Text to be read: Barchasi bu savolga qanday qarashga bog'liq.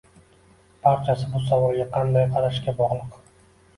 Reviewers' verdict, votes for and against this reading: accepted, 2, 0